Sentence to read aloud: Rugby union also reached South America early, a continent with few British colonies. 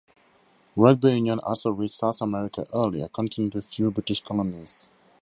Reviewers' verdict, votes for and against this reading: rejected, 0, 2